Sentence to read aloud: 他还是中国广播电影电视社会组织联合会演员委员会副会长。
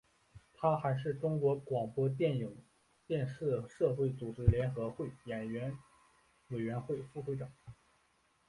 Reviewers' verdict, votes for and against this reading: rejected, 1, 2